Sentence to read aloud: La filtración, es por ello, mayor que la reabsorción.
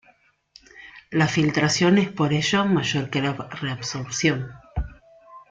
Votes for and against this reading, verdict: 2, 1, accepted